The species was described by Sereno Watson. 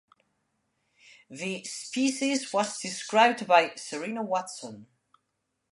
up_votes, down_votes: 0, 2